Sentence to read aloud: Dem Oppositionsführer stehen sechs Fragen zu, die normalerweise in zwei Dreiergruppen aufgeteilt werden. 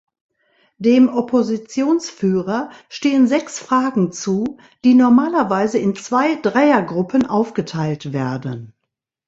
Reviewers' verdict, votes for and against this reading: accepted, 2, 0